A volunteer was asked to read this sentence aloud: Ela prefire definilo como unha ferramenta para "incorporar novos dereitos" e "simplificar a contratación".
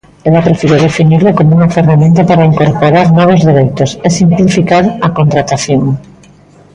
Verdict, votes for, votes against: accepted, 2, 0